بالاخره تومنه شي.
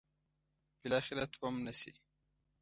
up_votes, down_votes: 2, 0